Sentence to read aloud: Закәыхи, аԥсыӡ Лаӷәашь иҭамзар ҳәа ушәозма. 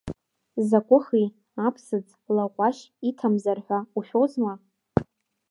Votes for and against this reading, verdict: 0, 2, rejected